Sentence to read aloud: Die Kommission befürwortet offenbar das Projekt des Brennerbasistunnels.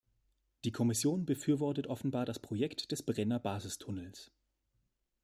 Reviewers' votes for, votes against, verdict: 2, 0, accepted